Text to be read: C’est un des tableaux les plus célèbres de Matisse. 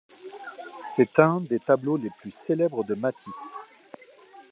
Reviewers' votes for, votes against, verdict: 2, 1, accepted